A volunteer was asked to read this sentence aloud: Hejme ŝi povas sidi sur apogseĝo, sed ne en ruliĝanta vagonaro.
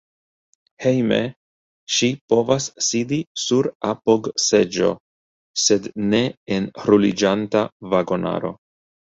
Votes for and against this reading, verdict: 1, 2, rejected